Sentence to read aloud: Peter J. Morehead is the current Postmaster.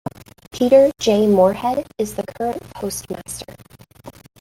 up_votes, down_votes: 0, 2